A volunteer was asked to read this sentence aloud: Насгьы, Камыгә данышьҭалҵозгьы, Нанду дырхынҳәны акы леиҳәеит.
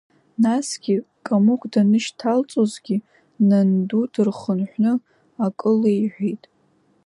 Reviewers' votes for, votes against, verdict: 2, 0, accepted